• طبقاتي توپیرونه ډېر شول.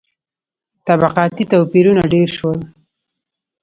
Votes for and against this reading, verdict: 2, 0, accepted